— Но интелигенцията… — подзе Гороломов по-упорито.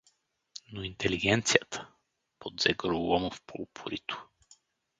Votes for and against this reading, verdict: 2, 2, rejected